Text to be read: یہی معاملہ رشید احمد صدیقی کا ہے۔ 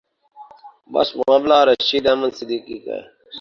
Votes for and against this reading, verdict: 0, 2, rejected